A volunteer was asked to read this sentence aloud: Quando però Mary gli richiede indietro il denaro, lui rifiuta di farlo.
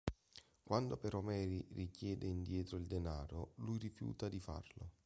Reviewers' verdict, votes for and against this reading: rejected, 1, 2